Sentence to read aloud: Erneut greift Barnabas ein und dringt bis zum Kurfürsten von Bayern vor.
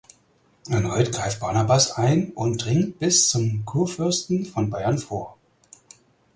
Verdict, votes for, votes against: accepted, 4, 0